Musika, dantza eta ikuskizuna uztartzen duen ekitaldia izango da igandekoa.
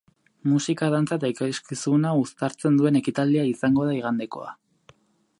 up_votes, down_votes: 0, 2